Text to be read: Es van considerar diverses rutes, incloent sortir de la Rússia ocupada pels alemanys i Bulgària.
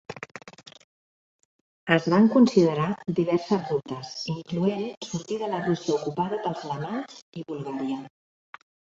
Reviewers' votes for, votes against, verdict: 1, 2, rejected